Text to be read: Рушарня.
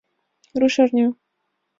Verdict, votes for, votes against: accepted, 2, 0